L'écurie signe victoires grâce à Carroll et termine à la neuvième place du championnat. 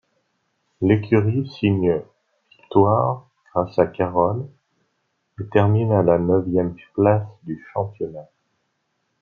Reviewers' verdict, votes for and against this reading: accepted, 2, 0